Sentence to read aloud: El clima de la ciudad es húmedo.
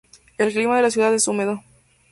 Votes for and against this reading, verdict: 2, 0, accepted